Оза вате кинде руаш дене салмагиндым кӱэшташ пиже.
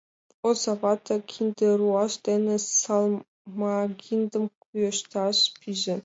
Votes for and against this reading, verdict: 2, 0, accepted